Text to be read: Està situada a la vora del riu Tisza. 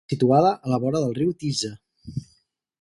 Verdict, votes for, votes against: rejected, 0, 4